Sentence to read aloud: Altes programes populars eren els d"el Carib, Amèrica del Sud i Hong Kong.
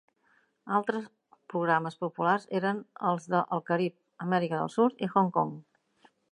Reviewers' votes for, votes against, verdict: 1, 2, rejected